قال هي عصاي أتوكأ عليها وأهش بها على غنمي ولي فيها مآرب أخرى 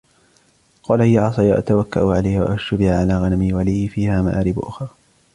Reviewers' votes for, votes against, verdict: 2, 0, accepted